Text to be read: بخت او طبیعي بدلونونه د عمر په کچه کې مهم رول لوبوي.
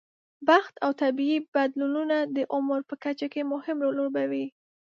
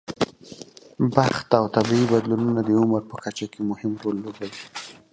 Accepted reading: first